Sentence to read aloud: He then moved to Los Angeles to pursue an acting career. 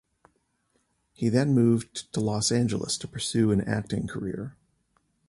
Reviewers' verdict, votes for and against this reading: accepted, 2, 0